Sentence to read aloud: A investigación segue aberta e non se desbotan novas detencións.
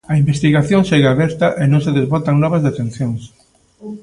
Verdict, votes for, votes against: accepted, 2, 0